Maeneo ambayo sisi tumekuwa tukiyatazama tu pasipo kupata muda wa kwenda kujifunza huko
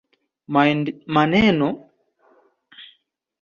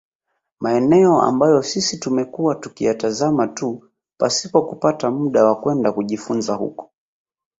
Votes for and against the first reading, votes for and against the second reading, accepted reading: 1, 2, 2, 0, second